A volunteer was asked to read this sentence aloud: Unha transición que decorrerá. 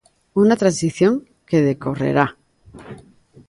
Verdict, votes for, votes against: accepted, 2, 0